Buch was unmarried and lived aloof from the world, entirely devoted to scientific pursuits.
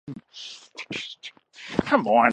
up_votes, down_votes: 2, 1